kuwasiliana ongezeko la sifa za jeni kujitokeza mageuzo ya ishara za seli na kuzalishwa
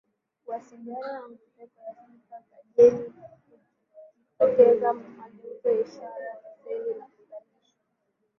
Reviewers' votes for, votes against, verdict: 0, 2, rejected